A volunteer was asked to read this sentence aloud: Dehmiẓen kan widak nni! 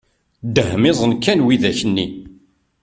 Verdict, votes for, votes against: accepted, 2, 0